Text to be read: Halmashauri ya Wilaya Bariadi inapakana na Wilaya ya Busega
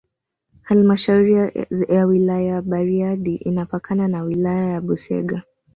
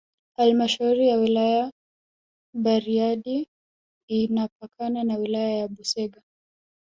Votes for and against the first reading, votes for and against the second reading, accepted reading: 1, 2, 2, 0, second